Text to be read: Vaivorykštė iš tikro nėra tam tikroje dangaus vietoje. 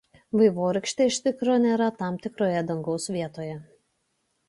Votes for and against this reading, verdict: 2, 0, accepted